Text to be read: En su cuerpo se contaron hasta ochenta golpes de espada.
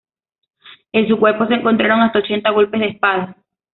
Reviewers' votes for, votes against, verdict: 1, 2, rejected